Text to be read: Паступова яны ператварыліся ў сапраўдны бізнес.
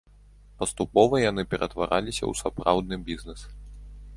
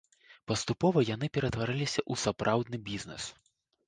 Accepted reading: second